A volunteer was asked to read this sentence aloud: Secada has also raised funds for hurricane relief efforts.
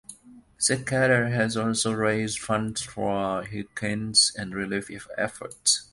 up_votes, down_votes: 0, 2